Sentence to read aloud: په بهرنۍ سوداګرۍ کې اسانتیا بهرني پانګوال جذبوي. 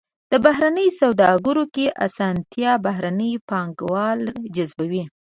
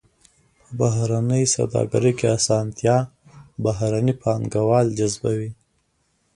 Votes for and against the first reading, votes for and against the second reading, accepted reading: 1, 2, 2, 0, second